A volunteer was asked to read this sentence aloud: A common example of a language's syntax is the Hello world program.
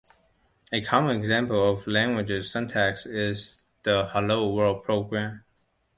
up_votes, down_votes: 2, 0